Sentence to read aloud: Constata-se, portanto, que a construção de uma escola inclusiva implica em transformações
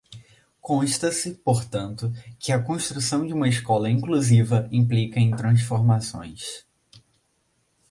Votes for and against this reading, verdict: 0, 2, rejected